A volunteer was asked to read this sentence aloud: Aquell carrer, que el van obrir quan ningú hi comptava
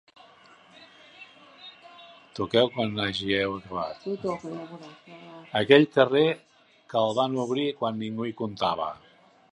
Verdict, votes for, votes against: rejected, 0, 2